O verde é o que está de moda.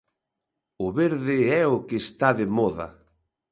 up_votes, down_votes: 2, 0